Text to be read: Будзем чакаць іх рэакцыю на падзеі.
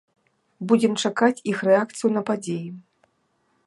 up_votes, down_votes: 2, 0